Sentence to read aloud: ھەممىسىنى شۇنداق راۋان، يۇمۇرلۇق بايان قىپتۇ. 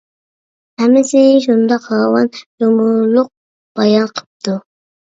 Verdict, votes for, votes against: rejected, 1, 2